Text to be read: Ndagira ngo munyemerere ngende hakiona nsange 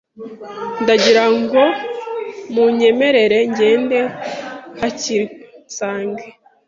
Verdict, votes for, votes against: rejected, 1, 2